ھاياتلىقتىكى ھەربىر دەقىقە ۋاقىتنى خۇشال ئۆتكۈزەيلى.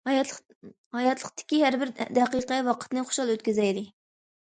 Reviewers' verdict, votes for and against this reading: rejected, 0, 2